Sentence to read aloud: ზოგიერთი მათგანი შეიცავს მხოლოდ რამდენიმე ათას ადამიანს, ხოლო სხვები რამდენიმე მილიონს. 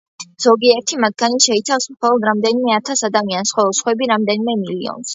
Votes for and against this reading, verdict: 2, 1, accepted